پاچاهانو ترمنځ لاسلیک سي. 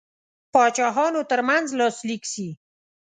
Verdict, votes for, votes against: accepted, 2, 0